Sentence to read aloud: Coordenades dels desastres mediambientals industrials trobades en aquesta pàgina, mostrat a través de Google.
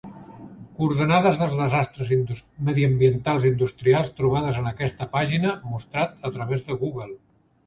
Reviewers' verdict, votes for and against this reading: rejected, 1, 2